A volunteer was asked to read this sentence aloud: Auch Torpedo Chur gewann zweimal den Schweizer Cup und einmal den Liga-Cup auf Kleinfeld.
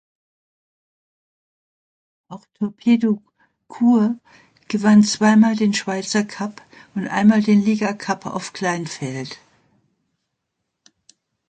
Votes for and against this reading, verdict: 2, 1, accepted